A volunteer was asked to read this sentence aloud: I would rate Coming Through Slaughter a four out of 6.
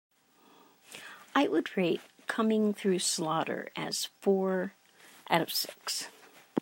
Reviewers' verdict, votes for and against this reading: rejected, 0, 2